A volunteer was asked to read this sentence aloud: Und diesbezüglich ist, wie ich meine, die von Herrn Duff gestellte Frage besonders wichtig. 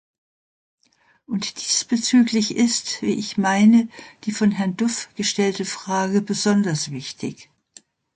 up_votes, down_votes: 2, 0